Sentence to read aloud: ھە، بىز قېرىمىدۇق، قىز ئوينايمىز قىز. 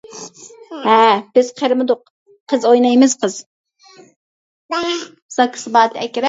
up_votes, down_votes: 0, 2